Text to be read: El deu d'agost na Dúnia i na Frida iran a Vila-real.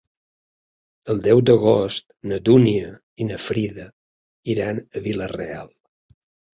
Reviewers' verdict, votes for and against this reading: accepted, 4, 0